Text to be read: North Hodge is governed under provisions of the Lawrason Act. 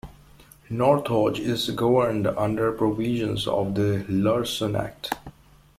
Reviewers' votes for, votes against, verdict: 0, 2, rejected